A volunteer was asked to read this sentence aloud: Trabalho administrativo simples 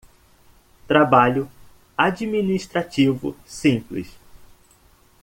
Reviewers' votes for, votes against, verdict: 2, 0, accepted